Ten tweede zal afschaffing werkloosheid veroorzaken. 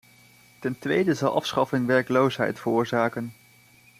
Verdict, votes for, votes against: accepted, 2, 0